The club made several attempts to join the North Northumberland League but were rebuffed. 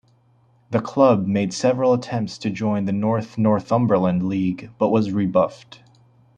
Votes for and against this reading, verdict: 2, 0, accepted